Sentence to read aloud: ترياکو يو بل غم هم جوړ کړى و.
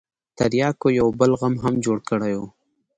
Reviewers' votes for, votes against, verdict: 2, 0, accepted